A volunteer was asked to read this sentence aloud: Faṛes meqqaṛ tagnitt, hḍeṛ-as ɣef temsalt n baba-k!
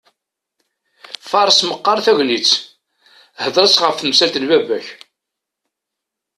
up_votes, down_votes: 2, 0